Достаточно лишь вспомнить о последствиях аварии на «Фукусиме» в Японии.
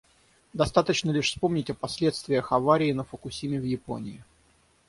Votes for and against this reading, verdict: 0, 3, rejected